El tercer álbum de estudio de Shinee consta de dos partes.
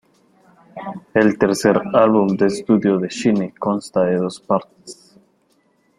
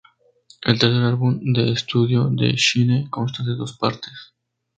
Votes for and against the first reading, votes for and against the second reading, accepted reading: 1, 2, 4, 0, second